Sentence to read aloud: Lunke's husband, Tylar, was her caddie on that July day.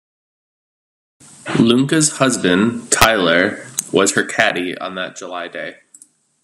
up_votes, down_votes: 2, 0